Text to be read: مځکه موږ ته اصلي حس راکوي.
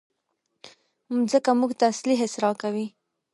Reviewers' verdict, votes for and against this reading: rejected, 1, 2